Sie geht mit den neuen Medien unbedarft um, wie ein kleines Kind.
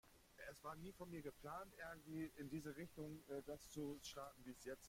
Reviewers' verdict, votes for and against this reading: rejected, 0, 2